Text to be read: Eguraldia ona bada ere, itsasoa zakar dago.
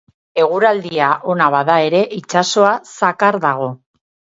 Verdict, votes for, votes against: rejected, 2, 2